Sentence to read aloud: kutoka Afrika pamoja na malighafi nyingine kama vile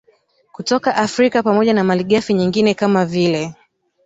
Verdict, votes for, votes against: accepted, 2, 1